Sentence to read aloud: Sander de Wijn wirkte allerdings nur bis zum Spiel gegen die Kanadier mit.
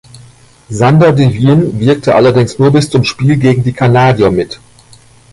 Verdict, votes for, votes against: accepted, 2, 0